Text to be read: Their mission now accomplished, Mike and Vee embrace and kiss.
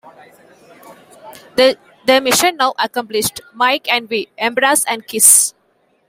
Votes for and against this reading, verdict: 0, 2, rejected